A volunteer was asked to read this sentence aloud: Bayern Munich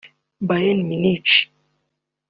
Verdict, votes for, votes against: accepted, 2, 0